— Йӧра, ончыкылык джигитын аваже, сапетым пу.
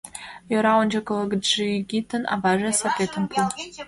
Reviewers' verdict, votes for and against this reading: rejected, 1, 2